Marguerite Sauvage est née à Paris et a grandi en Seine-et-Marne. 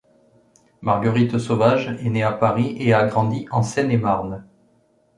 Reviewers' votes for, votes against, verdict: 2, 0, accepted